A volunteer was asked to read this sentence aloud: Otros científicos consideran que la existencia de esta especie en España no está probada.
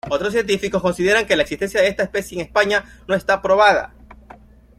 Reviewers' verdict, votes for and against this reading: accepted, 3, 1